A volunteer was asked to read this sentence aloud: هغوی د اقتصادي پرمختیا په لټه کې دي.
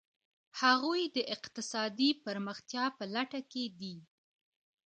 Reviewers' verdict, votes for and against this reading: accepted, 2, 1